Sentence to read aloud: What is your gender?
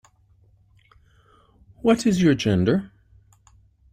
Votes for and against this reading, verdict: 2, 0, accepted